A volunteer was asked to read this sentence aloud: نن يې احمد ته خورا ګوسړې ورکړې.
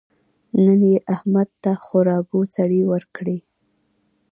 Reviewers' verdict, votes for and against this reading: accepted, 2, 1